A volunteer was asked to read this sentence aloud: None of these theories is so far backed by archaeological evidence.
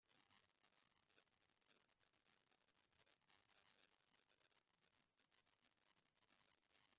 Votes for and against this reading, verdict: 0, 2, rejected